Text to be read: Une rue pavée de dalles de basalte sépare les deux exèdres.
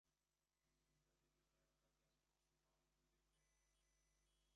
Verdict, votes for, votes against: rejected, 0, 2